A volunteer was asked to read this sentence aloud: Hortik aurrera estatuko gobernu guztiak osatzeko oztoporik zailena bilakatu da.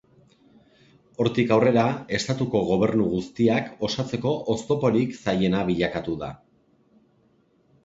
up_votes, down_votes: 2, 1